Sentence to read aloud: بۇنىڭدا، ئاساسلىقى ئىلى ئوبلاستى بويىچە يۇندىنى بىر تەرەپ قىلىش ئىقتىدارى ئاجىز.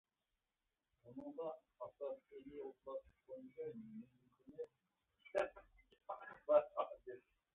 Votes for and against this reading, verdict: 0, 2, rejected